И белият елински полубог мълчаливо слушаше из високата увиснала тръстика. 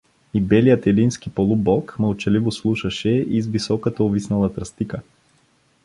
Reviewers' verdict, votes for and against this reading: accepted, 2, 0